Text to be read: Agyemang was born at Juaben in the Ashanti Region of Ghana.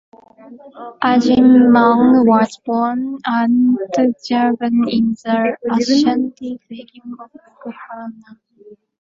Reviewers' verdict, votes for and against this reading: rejected, 1, 2